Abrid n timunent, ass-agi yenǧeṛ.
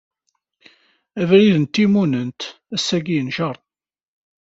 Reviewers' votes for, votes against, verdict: 2, 0, accepted